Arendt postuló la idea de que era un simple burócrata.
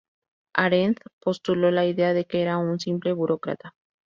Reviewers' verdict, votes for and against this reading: accepted, 2, 0